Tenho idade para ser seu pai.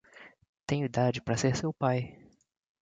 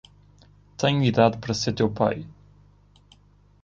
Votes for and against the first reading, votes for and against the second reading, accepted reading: 2, 0, 2, 3, first